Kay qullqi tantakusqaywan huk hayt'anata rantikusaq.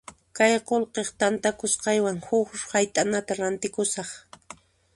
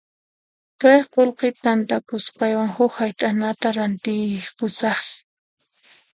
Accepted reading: first